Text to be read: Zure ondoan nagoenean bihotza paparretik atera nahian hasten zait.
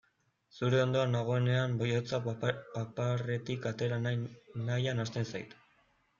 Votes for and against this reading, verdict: 0, 2, rejected